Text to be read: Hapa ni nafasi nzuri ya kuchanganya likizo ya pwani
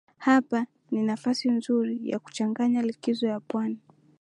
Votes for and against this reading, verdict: 0, 2, rejected